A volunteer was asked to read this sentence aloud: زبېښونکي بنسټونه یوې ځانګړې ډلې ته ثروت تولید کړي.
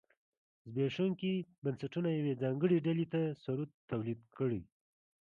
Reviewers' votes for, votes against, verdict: 0, 2, rejected